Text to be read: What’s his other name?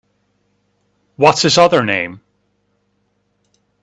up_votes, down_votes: 2, 0